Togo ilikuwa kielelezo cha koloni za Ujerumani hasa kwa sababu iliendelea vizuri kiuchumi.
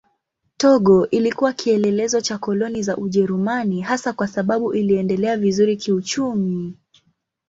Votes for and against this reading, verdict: 2, 0, accepted